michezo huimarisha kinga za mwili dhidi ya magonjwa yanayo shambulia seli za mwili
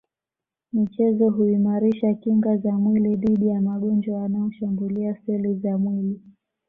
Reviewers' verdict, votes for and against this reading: accepted, 2, 0